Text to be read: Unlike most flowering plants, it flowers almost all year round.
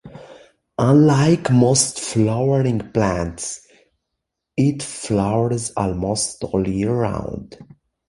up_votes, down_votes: 1, 2